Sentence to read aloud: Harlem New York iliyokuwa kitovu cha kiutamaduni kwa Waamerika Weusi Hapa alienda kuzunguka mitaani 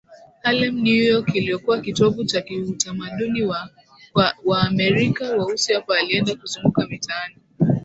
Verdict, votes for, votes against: accepted, 3, 2